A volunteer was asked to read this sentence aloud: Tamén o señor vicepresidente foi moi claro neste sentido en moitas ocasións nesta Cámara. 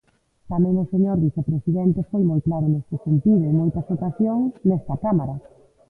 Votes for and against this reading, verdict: 1, 2, rejected